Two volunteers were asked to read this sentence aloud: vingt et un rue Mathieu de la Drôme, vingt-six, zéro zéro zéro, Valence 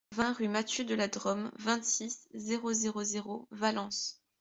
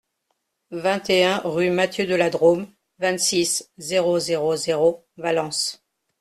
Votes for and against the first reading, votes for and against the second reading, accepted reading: 1, 2, 2, 0, second